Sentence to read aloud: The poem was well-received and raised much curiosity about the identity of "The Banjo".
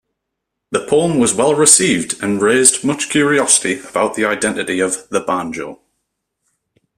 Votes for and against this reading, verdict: 2, 0, accepted